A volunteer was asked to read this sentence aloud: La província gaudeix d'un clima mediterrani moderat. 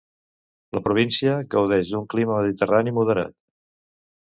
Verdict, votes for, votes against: accepted, 2, 0